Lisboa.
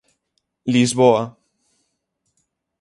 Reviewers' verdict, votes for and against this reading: accepted, 6, 3